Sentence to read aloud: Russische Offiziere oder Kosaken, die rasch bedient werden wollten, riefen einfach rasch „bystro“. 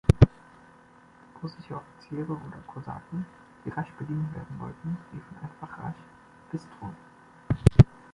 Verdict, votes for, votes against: accepted, 2, 1